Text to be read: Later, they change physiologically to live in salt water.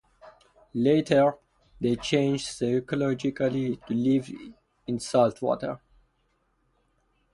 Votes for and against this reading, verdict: 0, 2, rejected